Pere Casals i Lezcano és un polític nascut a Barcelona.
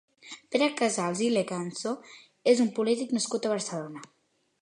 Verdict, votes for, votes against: rejected, 0, 2